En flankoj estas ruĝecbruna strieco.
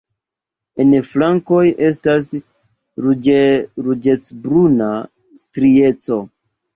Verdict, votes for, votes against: rejected, 1, 2